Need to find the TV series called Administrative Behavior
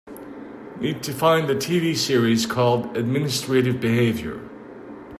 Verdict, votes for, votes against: accepted, 2, 0